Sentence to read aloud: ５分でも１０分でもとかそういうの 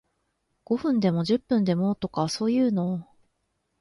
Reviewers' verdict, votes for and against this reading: rejected, 0, 2